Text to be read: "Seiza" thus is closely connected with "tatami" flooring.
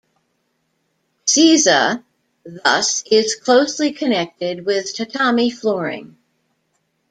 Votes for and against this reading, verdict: 2, 1, accepted